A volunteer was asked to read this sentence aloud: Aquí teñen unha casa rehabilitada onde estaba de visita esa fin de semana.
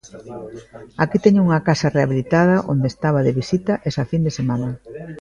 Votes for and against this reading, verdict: 0, 2, rejected